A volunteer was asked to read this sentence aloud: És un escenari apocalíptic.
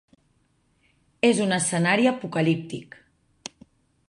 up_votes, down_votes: 3, 0